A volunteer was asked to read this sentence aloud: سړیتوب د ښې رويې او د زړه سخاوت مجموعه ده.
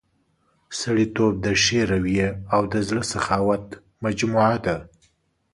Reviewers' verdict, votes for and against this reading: accepted, 3, 0